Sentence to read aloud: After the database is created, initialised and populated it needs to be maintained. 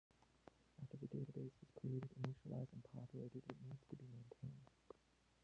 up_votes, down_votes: 0, 2